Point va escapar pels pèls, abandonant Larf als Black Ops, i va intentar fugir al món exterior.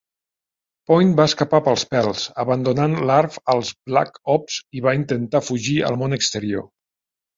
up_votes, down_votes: 2, 0